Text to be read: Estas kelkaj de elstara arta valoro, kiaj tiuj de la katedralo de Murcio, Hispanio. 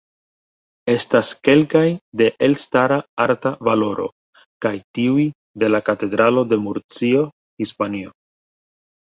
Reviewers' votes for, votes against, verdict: 2, 1, accepted